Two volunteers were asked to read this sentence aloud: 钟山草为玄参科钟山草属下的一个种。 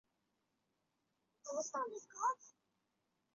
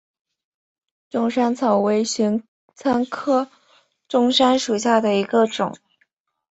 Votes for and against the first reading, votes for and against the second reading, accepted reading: 0, 2, 7, 0, second